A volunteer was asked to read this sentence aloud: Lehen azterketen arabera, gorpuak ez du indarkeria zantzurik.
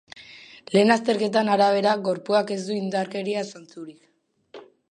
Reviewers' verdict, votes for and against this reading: accepted, 3, 1